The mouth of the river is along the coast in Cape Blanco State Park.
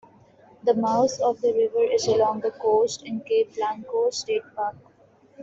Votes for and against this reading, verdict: 2, 0, accepted